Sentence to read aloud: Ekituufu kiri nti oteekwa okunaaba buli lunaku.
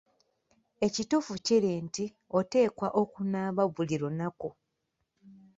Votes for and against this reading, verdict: 2, 0, accepted